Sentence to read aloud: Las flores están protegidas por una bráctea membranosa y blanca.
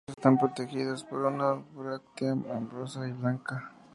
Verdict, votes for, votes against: rejected, 0, 2